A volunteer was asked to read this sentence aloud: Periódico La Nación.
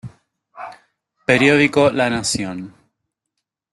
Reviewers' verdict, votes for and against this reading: rejected, 0, 2